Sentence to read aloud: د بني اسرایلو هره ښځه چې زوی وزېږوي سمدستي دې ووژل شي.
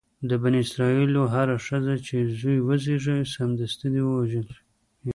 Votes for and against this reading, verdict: 2, 0, accepted